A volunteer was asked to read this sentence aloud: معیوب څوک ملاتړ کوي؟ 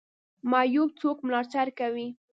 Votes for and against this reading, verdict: 2, 0, accepted